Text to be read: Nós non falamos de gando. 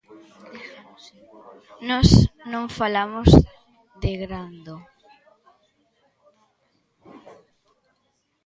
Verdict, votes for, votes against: rejected, 0, 2